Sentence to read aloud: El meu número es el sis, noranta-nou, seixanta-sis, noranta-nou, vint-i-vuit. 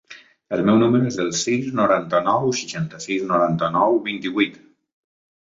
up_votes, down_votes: 3, 0